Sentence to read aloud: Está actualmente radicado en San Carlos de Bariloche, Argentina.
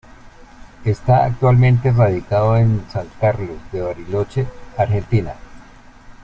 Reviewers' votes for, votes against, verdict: 2, 0, accepted